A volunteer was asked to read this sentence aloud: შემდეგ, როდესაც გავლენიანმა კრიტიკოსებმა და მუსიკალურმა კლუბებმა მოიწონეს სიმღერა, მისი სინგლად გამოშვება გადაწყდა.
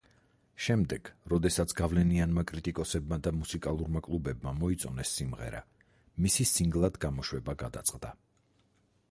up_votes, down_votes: 4, 0